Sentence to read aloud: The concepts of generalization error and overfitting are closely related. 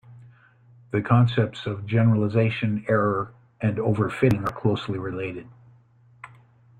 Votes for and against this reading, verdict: 2, 0, accepted